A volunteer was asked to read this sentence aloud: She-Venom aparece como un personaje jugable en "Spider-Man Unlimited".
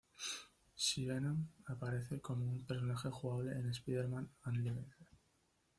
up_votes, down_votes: 2, 1